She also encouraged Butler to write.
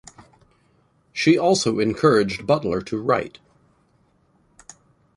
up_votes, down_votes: 2, 0